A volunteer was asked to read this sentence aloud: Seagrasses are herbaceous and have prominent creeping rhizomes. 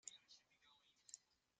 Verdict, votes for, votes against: rejected, 0, 3